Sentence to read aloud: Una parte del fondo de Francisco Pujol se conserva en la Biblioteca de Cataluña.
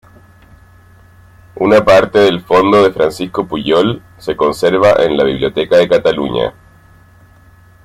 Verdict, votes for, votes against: accepted, 2, 0